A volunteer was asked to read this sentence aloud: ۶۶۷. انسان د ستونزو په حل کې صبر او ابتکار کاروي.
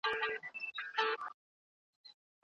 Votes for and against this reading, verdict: 0, 2, rejected